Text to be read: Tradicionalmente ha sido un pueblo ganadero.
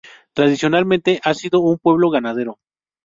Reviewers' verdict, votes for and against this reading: accepted, 2, 0